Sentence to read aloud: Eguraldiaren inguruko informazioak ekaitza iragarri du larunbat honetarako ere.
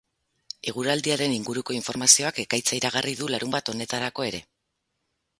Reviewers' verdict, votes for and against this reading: accepted, 6, 2